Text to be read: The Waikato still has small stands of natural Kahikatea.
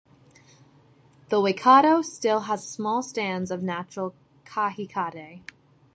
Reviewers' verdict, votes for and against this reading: rejected, 1, 2